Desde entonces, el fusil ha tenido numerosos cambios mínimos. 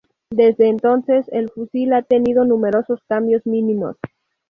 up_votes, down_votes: 2, 0